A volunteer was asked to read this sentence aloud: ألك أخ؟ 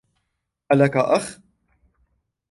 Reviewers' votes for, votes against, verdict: 2, 0, accepted